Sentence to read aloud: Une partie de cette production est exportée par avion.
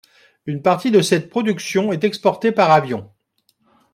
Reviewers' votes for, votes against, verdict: 2, 0, accepted